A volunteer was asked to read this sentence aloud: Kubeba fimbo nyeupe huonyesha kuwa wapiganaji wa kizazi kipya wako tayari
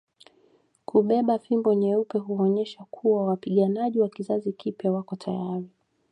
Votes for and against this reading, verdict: 2, 0, accepted